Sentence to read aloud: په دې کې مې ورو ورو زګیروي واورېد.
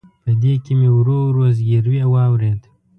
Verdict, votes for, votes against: accepted, 2, 0